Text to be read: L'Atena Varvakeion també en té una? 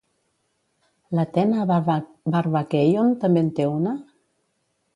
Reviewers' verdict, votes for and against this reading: rejected, 0, 2